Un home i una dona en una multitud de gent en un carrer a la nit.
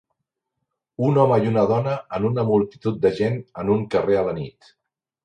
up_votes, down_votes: 4, 0